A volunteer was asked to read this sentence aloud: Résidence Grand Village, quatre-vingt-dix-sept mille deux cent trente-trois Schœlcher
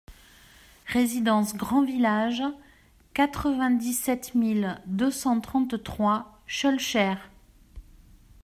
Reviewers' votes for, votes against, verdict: 2, 0, accepted